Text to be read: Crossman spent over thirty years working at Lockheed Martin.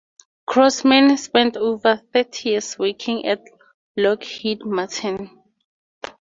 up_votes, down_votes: 2, 0